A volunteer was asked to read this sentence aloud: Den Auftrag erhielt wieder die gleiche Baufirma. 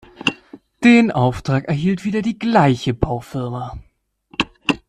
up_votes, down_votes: 2, 0